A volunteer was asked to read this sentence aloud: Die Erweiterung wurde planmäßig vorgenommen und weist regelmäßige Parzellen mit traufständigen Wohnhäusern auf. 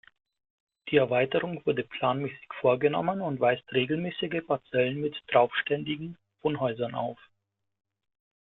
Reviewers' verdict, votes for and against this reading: rejected, 0, 2